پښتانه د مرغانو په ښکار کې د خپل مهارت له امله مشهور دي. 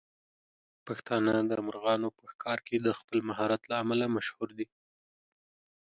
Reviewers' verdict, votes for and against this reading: accepted, 2, 0